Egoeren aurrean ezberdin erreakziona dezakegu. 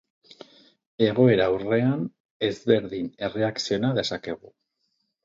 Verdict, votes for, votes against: rejected, 0, 4